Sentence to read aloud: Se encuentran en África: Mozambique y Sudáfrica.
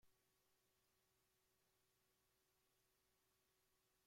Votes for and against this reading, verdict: 0, 2, rejected